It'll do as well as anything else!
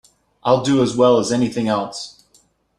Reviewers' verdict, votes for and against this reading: rejected, 1, 2